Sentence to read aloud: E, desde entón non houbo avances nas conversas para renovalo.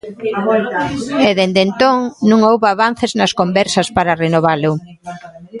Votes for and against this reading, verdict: 0, 2, rejected